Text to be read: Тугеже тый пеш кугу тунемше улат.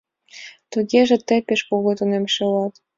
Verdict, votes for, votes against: accepted, 2, 0